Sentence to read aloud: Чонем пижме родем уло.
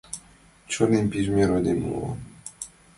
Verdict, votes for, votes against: accepted, 2, 1